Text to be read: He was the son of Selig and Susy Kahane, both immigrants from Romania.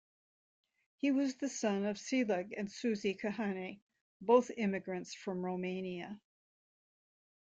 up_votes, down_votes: 2, 0